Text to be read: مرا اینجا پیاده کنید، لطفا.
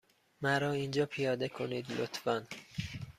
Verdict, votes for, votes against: accepted, 2, 0